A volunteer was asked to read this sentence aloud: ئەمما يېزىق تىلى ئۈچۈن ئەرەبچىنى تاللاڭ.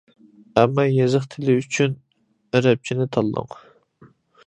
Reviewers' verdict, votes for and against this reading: accepted, 2, 0